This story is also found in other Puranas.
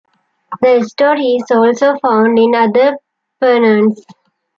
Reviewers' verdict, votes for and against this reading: rejected, 0, 2